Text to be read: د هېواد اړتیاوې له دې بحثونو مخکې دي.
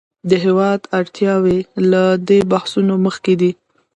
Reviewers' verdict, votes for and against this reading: accepted, 2, 1